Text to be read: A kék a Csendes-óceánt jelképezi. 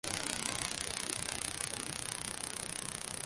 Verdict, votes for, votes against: rejected, 0, 2